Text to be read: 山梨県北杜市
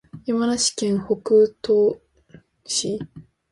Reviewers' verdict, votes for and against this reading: accepted, 2, 1